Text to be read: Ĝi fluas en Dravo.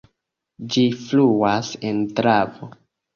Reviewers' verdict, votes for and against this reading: accepted, 2, 0